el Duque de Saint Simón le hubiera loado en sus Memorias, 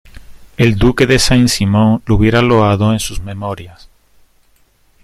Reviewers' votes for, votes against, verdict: 1, 2, rejected